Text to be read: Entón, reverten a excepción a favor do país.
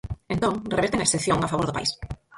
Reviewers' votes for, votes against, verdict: 0, 4, rejected